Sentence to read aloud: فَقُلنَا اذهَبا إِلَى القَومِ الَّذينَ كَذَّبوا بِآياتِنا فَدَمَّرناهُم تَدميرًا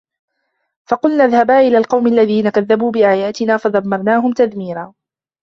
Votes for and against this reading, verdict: 1, 2, rejected